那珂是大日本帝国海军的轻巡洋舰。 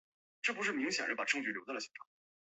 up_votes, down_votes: 0, 4